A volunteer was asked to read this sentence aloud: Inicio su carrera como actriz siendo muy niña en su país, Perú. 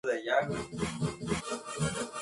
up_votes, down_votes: 0, 2